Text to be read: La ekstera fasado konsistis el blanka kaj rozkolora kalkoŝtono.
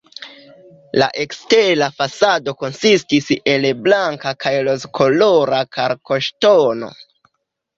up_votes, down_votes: 2, 1